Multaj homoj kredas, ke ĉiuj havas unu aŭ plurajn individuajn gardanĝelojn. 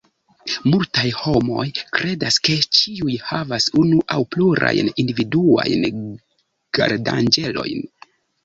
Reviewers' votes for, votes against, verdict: 1, 2, rejected